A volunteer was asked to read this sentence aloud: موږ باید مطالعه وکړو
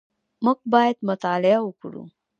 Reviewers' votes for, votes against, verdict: 0, 2, rejected